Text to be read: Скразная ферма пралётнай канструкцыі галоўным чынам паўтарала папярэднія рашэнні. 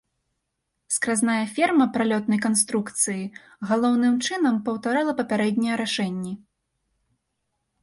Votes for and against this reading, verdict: 2, 0, accepted